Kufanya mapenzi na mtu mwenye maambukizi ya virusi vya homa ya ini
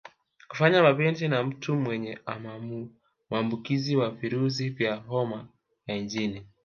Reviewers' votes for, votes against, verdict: 1, 2, rejected